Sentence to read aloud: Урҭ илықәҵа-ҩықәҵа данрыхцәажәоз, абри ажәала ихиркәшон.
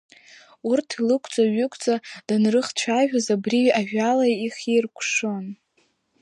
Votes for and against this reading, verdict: 2, 1, accepted